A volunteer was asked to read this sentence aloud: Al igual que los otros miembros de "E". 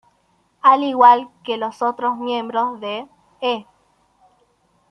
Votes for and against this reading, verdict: 2, 0, accepted